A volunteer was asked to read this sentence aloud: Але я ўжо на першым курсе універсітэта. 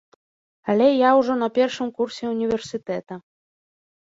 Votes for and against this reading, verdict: 2, 0, accepted